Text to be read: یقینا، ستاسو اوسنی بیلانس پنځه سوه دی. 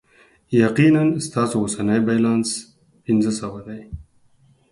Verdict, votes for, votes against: accepted, 4, 0